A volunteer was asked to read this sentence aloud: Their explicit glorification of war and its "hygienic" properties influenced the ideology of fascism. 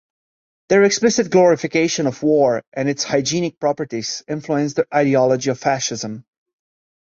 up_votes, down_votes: 1, 2